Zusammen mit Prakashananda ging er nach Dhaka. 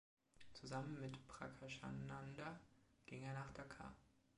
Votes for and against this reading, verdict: 3, 1, accepted